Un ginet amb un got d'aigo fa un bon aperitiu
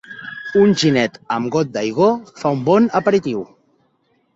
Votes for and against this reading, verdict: 0, 2, rejected